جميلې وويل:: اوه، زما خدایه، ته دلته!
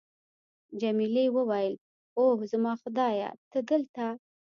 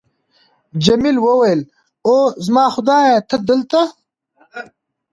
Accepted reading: second